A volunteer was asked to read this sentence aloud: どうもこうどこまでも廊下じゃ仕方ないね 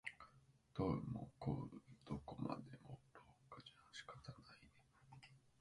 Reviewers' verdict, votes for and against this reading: rejected, 0, 2